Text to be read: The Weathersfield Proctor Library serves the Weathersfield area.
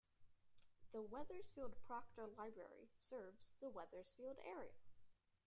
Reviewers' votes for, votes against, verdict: 1, 2, rejected